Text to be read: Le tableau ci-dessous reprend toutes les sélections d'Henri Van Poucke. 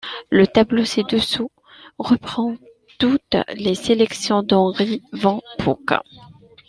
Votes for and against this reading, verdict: 2, 0, accepted